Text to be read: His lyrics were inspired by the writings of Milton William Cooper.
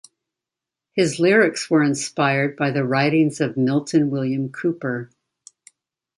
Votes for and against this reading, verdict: 2, 0, accepted